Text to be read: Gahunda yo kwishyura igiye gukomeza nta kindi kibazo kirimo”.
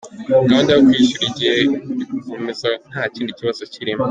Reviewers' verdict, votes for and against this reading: accepted, 2, 1